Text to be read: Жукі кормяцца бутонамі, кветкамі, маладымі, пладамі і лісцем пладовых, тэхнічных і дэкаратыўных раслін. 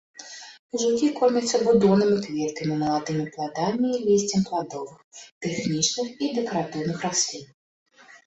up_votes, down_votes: 1, 2